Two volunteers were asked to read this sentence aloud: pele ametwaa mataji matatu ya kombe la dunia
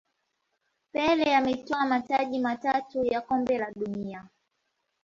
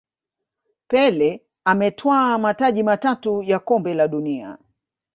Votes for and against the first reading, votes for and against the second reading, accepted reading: 1, 2, 2, 0, second